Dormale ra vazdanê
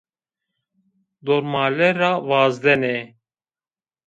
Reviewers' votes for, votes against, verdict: 0, 2, rejected